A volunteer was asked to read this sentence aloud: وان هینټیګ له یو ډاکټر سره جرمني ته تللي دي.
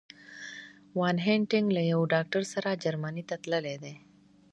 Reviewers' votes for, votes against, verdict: 0, 2, rejected